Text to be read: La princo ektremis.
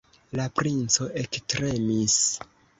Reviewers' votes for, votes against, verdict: 2, 1, accepted